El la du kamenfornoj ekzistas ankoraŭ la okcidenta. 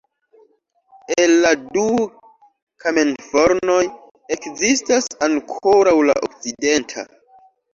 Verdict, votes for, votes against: rejected, 1, 2